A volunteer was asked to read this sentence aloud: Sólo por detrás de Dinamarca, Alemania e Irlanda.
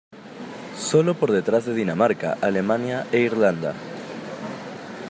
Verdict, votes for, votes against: accepted, 2, 0